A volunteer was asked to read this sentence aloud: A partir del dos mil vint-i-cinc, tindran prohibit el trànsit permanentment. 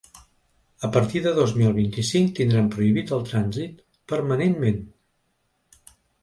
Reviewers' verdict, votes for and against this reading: rejected, 1, 2